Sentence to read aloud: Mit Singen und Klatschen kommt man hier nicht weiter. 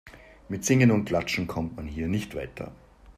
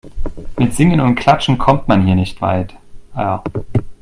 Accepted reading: first